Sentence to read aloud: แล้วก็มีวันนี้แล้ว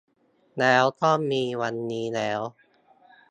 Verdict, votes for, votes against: accepted, 2, 0